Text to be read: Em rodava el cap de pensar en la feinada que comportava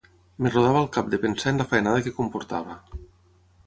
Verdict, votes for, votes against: rejected, 3, 3